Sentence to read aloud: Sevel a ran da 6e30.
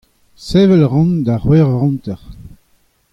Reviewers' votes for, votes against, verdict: 0, 2, rejected